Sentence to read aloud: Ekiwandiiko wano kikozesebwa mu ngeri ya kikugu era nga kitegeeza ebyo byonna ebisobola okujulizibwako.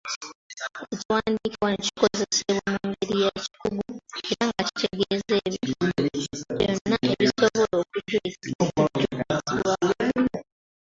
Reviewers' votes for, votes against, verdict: 0, 2, rejected